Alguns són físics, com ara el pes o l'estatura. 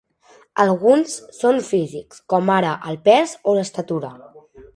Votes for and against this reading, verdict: 3, 0, accepted